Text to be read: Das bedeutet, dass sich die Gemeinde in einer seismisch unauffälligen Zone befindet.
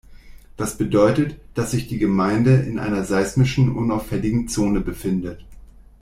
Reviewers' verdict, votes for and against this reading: rejected, 0, 2